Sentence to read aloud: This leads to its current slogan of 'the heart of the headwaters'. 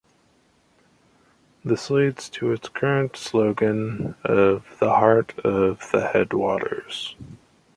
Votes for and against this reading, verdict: 2, 0, accepted